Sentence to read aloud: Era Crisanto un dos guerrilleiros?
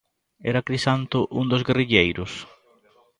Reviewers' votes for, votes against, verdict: 0, 2, rejected